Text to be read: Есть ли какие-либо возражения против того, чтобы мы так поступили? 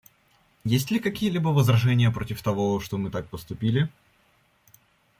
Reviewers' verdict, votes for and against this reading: rejected, 1, 2